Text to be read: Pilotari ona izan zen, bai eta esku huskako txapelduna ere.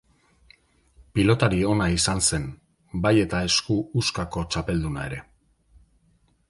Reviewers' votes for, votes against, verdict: 2, 0, accepted